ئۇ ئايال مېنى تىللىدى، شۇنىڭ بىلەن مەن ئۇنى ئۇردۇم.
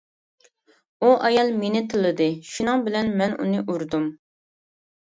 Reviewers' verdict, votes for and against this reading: accepted, 2, 0